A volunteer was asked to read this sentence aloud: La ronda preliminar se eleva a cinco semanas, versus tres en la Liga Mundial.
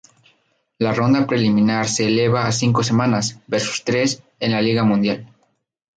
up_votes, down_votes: 2, 0